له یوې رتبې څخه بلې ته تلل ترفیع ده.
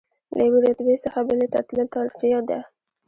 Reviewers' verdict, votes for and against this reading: accepted, 2, 0